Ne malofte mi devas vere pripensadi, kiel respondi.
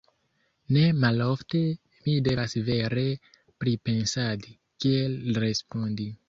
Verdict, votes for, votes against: accepted, 2, 0